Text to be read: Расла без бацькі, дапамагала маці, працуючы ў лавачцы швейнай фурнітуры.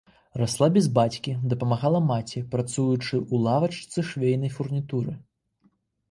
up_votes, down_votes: 2, 0